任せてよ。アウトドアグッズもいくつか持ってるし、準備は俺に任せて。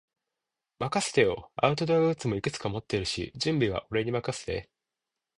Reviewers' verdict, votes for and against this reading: accepted, 2, 0